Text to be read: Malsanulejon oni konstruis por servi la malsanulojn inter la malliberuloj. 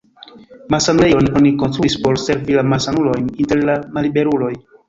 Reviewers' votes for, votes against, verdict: 0, 2, rejected